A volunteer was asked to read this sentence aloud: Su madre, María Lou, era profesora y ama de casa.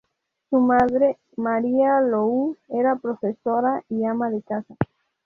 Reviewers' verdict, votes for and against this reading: accepted, 2, 0